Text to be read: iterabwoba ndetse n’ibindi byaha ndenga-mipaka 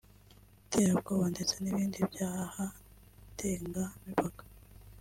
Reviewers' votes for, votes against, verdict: 2, 1, accepted